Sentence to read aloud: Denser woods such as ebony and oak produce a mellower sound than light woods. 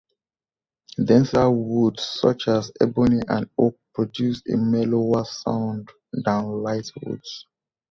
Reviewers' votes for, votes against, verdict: 1, 2, rejected